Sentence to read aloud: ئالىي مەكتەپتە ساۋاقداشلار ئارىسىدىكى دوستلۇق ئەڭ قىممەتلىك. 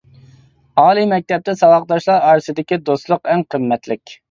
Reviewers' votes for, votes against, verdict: 2, 0, accepted